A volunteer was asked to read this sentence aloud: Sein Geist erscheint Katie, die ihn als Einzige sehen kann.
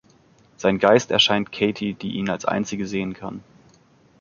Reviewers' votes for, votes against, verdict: 2, 0, accepted